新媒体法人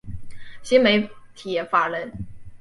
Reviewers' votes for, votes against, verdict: 5, 0, accepted